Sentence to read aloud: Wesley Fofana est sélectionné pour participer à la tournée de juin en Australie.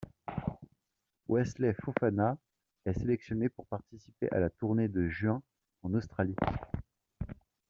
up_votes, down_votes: 1, 2